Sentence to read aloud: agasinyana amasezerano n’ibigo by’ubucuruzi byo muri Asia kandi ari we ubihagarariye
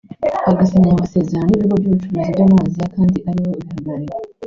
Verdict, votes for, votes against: rejected, 0, 3